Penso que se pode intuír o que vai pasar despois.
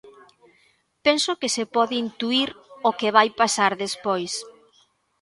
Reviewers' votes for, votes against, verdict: 1, 2, rejected